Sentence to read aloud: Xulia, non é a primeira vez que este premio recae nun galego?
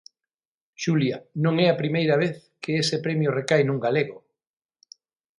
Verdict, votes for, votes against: rejected, 0, 6